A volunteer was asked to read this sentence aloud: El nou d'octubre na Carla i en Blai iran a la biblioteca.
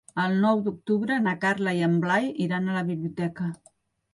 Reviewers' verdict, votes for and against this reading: accepted, 3, 0